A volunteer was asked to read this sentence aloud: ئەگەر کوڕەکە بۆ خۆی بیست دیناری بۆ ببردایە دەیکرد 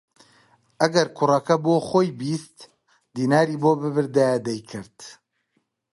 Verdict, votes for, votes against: accepted, 2, 1